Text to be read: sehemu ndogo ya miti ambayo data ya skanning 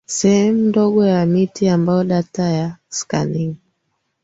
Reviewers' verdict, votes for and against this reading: accepted, 2, 0